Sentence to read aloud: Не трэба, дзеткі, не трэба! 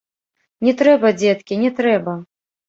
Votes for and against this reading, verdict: 0, 2, rejected